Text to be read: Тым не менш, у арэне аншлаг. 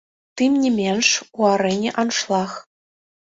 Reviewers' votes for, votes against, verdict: 3, 0, accepted